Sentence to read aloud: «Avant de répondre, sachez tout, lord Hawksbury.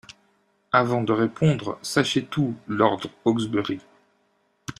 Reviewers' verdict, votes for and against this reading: accepted, 2, 0